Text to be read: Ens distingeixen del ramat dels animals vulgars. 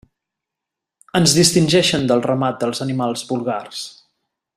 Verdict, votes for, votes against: accepted, 2, 0